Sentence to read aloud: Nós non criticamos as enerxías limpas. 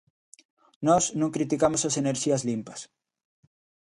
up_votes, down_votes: 2, 0